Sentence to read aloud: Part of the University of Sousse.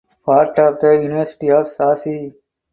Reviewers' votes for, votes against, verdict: 2, 0, accepted